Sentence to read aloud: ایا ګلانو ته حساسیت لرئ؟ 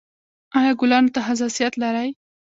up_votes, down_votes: 2, 0